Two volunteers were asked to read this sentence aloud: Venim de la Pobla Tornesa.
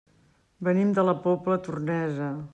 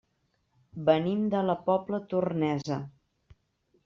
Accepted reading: first